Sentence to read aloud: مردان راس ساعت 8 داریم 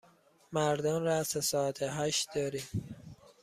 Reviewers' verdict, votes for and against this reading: rejected, 0, 2